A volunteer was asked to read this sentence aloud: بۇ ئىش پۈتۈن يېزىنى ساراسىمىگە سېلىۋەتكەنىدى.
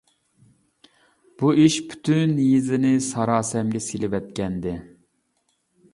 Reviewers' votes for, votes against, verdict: 1, 2, rejected